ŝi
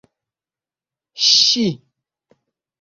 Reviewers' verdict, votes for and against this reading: accepted, 2, 0